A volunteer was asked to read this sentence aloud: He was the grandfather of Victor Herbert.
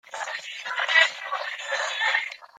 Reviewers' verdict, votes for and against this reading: rejected, 0, 2